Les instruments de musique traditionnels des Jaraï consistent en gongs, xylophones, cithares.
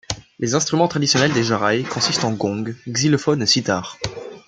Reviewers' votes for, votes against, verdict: 1, 2, rejected